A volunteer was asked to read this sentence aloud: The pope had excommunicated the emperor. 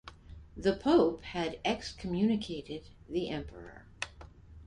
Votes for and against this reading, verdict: 2, 0, accepted